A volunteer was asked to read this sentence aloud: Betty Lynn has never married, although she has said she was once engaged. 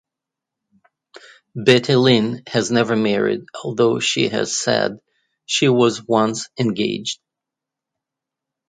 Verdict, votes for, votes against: accepted, 2, 0